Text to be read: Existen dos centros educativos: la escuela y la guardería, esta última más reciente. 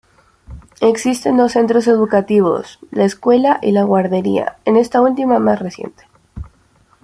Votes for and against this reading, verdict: 0, 2, rejected